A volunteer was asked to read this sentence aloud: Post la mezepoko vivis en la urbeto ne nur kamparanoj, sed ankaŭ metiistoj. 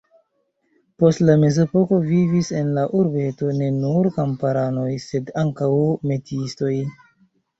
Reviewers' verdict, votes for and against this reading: rejected, 0, 2